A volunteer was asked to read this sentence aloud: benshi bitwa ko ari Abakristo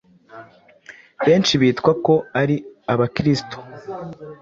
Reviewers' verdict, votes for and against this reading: accepted, 2, 0